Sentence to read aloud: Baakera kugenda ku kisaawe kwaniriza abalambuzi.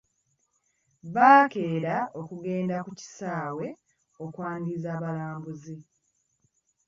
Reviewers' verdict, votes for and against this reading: rejected, 1, 2